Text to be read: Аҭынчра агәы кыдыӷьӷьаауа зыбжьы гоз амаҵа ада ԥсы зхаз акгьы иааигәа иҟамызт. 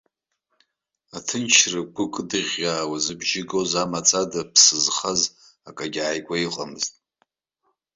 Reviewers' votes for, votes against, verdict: 2, 0, accepted